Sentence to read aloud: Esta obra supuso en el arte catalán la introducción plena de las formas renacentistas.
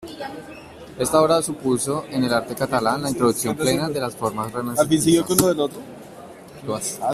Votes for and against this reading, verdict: 0, 2, rejected